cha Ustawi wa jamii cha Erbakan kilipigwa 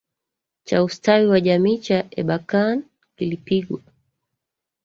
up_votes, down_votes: 1, 2